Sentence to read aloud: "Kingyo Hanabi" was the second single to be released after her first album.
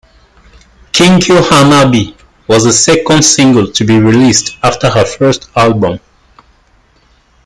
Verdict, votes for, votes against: accepted, 2, 1